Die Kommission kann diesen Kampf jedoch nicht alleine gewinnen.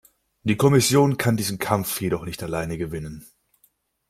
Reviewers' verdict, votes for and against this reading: accepted, 2, 0